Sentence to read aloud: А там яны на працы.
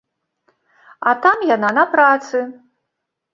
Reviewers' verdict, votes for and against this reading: rejected, 0, 3